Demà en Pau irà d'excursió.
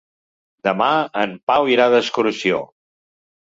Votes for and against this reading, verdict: 3, 0, accepted